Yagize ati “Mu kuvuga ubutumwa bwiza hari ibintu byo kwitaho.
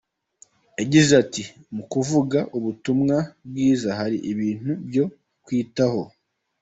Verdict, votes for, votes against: accepted, 2, 0